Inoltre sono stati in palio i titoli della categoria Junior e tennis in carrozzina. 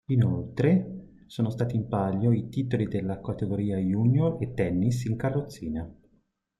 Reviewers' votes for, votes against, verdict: 2, 0, accepted